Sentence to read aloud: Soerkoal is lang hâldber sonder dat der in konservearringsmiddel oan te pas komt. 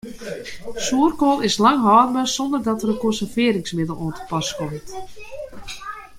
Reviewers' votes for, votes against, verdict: 0, 2, rejected